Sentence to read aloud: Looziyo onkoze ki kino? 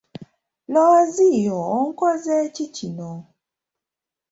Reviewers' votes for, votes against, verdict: 2, 1, accepted